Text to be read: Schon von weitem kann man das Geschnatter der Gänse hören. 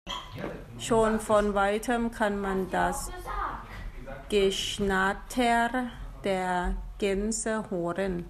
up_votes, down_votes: 1, 2